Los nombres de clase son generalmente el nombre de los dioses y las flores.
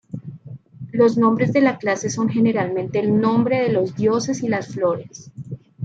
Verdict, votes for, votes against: rejected, 1, 2